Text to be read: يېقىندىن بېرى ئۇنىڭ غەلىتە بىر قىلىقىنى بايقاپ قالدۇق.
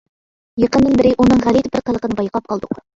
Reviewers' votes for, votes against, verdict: 2, 0, accepted